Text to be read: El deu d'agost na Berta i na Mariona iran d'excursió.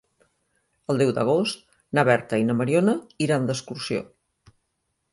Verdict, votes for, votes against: accepted, 2, 0